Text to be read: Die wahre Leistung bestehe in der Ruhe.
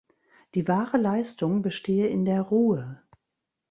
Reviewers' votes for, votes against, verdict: 2, 0, accepted